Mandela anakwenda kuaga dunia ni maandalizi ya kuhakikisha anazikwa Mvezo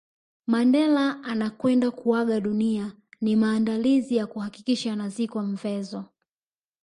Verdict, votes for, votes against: rejected, 0, 2